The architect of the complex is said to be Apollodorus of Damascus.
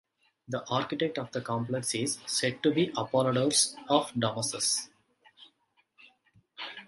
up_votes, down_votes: 1, 2